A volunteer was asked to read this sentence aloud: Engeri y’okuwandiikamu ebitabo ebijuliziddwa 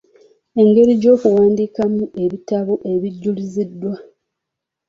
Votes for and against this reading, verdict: 1, 2, rejected